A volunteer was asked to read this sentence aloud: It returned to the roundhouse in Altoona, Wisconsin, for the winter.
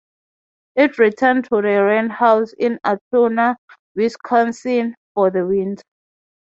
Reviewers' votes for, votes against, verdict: 3, 0, accepted